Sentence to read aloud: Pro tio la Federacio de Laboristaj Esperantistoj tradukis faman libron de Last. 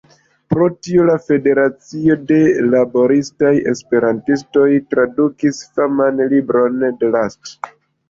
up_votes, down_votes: 1, 2